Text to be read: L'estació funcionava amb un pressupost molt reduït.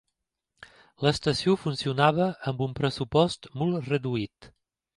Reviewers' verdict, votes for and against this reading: accepted, 2, 0